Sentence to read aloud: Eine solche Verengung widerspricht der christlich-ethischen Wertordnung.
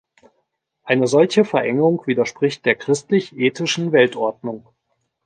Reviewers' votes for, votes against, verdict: 1, 2, rejected